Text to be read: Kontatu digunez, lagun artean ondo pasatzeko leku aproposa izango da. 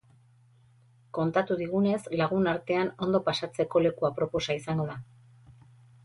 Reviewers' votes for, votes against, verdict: 6, 0, accepted